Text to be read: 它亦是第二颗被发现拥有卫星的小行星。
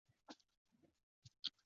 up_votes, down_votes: 2, 4